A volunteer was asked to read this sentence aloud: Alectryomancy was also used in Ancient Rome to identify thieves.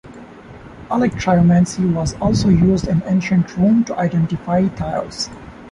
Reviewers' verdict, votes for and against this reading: rejected, 0, 2